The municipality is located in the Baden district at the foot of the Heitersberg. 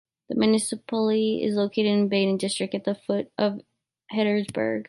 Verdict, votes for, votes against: rejected, 1, 2